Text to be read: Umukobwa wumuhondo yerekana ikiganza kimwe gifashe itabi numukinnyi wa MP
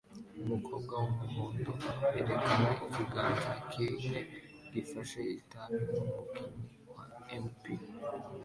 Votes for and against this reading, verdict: 2, 1, accepted